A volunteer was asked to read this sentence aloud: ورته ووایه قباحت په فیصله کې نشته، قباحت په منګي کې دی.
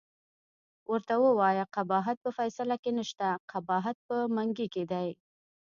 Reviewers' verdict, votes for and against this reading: rejected, 0, 2